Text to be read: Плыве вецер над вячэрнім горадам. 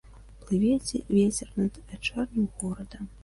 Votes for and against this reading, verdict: 0, 2, rejected